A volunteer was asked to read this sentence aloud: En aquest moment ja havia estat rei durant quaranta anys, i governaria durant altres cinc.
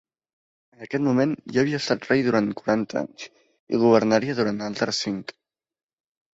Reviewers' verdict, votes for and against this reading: rejected, 0, 2